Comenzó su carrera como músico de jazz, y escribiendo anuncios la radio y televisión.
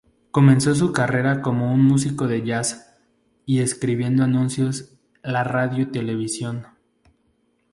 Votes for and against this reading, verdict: 0, 2, rejected